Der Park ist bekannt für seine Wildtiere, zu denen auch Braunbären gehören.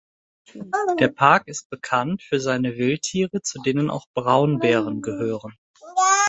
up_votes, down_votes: 2, 0